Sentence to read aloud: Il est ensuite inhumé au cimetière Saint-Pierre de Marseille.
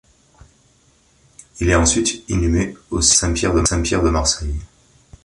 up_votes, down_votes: 0, 2